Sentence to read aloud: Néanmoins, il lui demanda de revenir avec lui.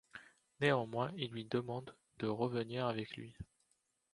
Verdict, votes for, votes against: rejected, 0, 2